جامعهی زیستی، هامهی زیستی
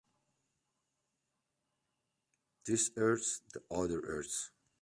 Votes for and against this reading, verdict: 0, 2, rejected